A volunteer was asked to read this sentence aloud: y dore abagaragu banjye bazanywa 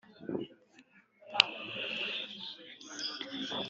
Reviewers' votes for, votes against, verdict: 1, 2, rejected